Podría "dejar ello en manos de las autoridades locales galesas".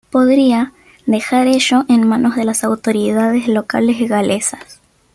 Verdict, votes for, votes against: accepted, 2, 0